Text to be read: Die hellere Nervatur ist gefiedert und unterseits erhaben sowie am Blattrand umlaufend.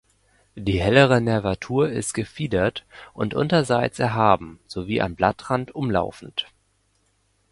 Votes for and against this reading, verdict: 2, 0, accepted